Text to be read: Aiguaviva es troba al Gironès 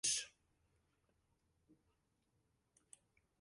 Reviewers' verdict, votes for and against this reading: rejected, 1, 2